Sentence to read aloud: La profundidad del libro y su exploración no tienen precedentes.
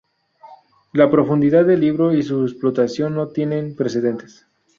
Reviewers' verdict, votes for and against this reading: rejected, 0, 2